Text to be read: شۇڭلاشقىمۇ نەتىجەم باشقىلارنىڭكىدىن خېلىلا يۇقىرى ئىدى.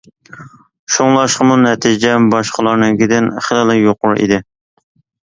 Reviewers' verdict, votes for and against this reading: accepted, 2, 0